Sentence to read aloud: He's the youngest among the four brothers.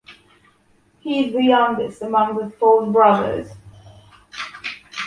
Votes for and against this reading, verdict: 2, 0, accepted